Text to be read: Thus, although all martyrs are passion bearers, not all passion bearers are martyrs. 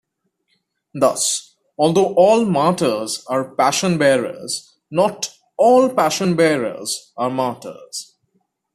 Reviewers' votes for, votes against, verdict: 2, 0, accepted